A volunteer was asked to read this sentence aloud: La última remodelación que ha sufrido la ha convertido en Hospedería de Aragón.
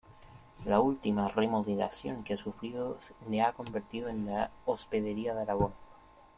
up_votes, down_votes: 0, 2